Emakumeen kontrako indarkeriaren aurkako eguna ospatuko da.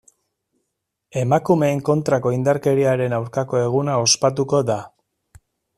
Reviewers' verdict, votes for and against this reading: accepted, 2, 1